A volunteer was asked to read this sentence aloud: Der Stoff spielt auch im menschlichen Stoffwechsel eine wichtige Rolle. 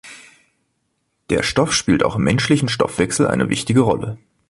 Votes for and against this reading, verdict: 2, 0, accepted